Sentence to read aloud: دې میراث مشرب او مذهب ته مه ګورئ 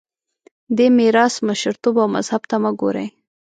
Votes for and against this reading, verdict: 0, 2, rejected